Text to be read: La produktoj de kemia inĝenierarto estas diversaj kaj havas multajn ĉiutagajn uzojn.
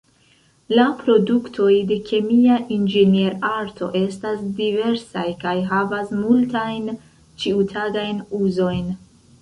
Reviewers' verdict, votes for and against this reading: rejected, 2, 3